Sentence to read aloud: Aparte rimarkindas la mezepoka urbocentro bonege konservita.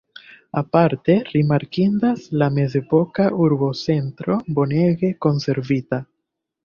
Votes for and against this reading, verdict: 1, 2, rejected